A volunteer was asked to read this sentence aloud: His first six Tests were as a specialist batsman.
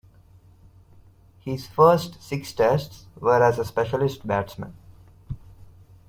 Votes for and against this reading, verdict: 2, 0, accepted